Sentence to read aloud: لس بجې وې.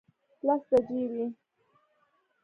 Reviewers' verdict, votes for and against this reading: accepted, 2, 0